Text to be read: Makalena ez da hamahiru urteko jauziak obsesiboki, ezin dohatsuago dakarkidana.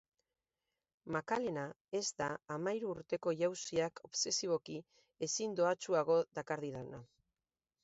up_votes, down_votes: 0, 2